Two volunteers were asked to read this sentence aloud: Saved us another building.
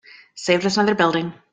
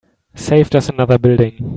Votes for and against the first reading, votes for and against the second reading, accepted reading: 1, 2, 2, 0, second